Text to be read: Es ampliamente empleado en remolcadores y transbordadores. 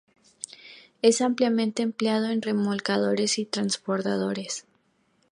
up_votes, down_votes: 2, 0